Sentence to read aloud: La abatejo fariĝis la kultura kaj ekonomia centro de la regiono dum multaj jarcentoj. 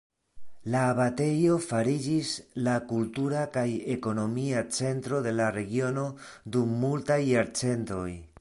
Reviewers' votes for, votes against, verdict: 2, 0, accepted